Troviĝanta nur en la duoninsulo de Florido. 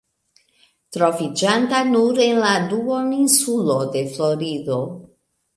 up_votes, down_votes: 1, 2